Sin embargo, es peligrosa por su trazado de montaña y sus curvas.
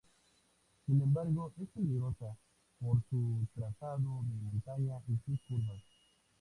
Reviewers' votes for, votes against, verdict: 2, 2, rejected